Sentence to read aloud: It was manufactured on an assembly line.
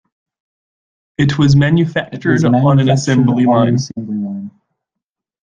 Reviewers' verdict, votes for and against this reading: rejected, 1, 2